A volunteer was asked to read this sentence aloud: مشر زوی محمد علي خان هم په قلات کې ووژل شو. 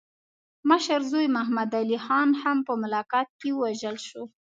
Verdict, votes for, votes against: accepted, 2, 1